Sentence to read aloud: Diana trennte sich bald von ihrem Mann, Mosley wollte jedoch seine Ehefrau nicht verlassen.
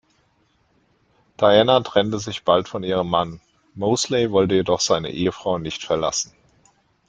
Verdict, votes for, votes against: accepted, 2, 0